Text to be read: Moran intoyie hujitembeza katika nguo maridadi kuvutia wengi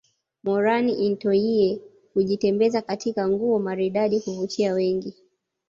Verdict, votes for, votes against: accepted, 2, 0